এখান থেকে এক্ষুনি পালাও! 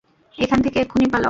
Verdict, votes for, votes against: accepted, 2, 0